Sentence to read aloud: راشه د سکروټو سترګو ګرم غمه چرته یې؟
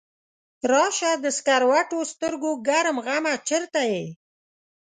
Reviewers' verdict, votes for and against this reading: accepted, 2, 0